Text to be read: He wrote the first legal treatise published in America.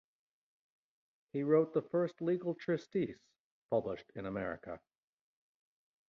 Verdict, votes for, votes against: rejected, 0, 2